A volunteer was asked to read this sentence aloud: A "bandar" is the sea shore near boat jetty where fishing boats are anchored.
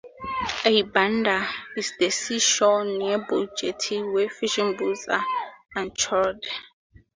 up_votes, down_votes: 0, 2